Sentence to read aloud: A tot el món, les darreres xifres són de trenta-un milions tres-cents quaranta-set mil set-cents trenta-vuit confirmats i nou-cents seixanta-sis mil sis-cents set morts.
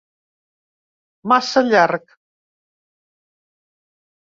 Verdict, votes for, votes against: rejected, 0, 2